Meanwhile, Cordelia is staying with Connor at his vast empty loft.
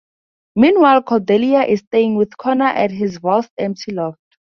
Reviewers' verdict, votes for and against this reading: accepted, 2, 0